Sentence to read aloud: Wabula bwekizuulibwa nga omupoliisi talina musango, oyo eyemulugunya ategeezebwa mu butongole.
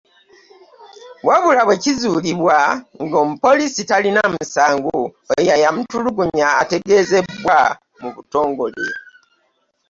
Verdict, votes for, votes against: rejected, 0, 3